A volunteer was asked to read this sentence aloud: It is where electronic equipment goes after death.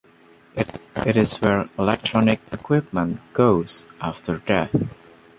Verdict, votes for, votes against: rejected, 0, 2